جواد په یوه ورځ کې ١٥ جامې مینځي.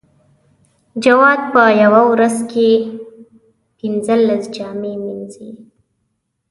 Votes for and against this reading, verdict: 0, 2, rejected